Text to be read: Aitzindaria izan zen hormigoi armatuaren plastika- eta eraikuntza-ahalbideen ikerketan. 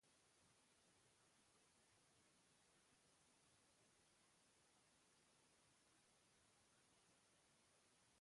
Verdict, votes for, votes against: rejected, 0, 2